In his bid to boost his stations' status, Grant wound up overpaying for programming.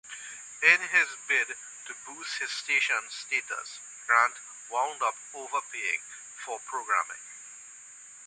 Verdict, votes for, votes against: accepted, 2, 1